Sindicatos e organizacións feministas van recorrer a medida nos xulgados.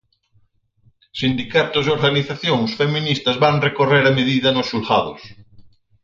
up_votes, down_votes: 4, 0